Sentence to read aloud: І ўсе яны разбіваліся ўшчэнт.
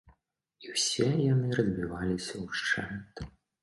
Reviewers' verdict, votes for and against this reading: accepted, 2, 0